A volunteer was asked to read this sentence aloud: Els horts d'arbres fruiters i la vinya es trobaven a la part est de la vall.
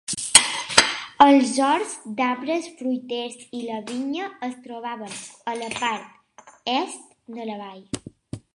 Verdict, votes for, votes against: accepted, 3, 1